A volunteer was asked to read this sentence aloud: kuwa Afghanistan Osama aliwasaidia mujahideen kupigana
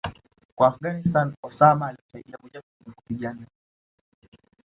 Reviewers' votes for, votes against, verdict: 1, 2, rejected